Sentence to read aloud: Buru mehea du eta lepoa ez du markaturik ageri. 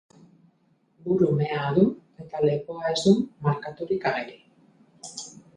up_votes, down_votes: 2, 2